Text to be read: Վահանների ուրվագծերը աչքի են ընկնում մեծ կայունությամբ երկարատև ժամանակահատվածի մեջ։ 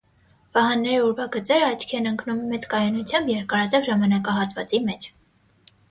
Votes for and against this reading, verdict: 6, 0, accepted